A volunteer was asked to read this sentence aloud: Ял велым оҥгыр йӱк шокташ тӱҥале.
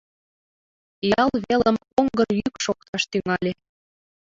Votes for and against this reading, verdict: 2, 0, accepted